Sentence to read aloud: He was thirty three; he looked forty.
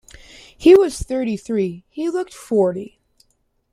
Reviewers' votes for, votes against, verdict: 2, 0, accepted